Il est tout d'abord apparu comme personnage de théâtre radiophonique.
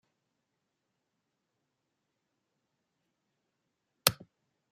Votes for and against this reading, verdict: 0, 2, rejected